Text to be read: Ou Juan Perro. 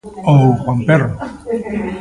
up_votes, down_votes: 2, 1